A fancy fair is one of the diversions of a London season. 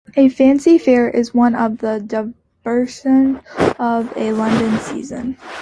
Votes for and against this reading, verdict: 0, 2, rejected